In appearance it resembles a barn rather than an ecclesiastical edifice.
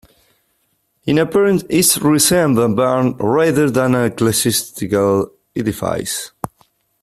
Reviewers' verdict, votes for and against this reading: rejected, 0, 2